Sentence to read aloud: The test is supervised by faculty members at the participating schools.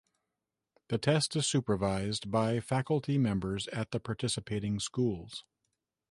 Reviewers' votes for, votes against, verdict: 2, 0, accepted